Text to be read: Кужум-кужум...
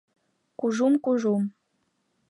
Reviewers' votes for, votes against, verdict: 2, 1, accepted